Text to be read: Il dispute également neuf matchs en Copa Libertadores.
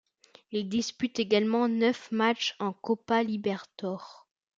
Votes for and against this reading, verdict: 0, 2, rejected